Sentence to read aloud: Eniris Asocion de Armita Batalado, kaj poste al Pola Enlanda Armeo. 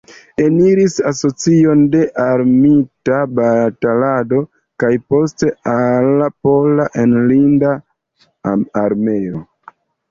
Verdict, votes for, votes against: rejected, 0, 2